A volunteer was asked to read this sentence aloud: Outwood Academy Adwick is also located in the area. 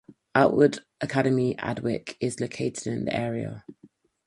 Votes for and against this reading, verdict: 2, 4, rejected